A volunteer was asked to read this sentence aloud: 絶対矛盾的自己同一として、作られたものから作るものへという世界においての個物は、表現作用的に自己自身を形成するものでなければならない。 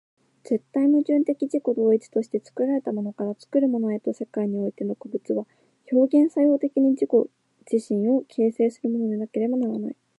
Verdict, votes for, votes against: accepted, 2, 0